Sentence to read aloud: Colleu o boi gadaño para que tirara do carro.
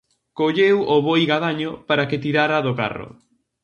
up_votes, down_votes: 2, 0